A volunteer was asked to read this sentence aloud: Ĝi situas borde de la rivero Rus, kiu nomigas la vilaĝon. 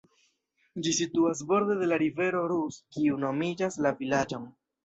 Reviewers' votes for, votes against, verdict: 0, 2, rejected